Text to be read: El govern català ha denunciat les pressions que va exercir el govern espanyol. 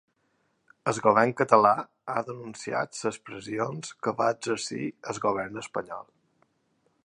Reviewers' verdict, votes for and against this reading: rejected, 1, 2